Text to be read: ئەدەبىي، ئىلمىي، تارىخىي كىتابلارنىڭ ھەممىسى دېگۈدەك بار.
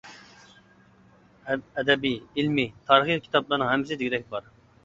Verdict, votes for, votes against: rejected, 0, 2